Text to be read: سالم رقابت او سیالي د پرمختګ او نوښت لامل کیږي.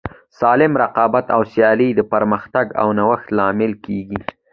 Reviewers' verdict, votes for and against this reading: accepted, 2, 0